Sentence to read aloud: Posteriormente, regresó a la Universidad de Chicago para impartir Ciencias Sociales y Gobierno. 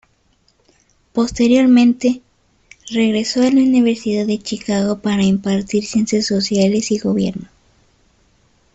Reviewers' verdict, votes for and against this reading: rejected, 1, 2